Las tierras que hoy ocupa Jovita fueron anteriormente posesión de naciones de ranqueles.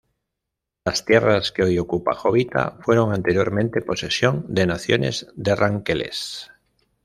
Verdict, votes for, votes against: accepted, 2, 0